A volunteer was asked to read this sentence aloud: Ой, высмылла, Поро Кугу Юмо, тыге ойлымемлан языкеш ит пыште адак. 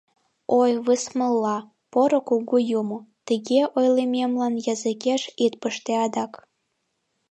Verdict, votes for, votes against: accepted, 2, 0